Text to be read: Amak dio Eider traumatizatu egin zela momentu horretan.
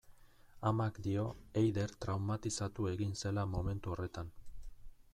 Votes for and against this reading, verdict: 2, 0, accepted